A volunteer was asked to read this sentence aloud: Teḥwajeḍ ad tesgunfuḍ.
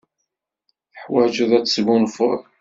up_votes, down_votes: 2, 0